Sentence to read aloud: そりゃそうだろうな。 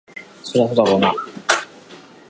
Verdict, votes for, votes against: rejected, 2, 3